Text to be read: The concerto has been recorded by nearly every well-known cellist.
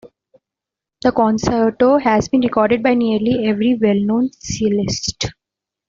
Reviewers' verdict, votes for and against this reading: rejected, 0, 2